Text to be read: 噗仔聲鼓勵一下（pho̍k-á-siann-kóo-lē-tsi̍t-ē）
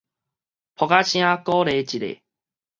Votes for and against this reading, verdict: 4, 0, accepted